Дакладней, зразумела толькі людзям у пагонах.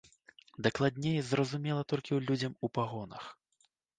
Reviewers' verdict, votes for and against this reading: accepted, 2, 1